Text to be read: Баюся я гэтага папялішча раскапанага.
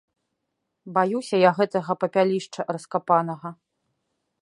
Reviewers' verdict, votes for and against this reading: accepted, 2, 0